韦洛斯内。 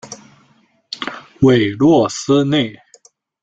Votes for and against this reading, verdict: 2, 1, accepted